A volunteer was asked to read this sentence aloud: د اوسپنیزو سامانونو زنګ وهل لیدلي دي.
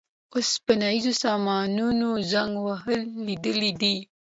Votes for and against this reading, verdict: 2, 0, accepted